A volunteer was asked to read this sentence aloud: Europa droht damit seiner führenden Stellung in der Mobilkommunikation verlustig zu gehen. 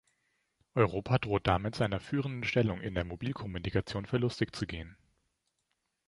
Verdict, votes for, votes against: accepted, 2, 0